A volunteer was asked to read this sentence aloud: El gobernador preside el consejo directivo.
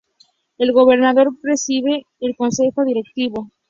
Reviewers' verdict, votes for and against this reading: accepted, 2, 0